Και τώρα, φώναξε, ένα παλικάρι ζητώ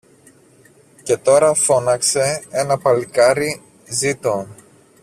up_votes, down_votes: 1, 2